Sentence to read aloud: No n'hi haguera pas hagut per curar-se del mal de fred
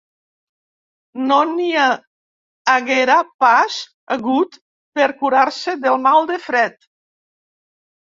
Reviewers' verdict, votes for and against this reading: rejected, 1, 2